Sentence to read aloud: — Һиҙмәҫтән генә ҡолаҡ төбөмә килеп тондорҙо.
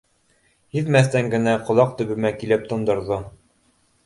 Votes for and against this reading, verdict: 2, 0, accepted